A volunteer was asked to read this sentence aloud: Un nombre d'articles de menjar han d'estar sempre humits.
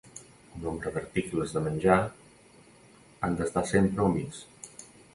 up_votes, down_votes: 0, 2